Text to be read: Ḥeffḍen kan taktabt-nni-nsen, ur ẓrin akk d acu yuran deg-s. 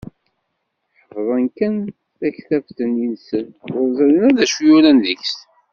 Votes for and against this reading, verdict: 0, 2, rejected